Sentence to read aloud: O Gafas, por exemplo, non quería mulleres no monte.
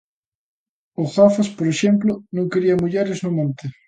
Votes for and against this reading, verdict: 2, 0, accepted